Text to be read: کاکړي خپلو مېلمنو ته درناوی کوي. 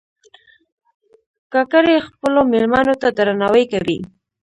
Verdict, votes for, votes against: rejected, 0, 2